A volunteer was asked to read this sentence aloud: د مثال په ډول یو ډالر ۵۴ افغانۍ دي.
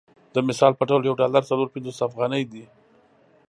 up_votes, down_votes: 0, 2